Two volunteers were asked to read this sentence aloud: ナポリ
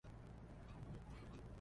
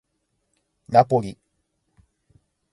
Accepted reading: second